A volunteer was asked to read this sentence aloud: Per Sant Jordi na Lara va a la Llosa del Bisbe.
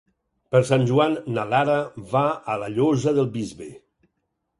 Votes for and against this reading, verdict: 2, 4, rejected